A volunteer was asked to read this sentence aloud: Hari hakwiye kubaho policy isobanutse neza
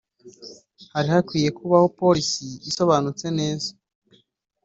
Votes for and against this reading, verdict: 4, 0, accepted